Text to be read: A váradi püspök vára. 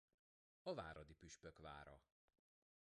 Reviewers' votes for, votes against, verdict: 2, 0, accepted